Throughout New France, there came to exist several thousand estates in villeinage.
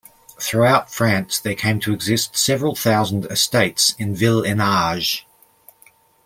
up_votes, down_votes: 0, 2